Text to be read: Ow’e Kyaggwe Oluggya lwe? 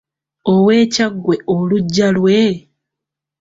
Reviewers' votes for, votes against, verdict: 2, 0, accepted